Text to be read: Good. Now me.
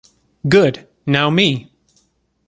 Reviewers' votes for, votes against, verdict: 2, 0, accepted